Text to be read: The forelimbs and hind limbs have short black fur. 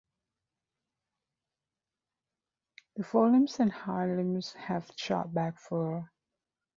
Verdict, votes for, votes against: rejected, 1, 2